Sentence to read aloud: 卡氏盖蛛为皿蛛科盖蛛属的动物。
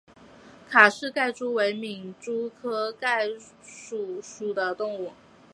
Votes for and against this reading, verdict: 0, 2, rejected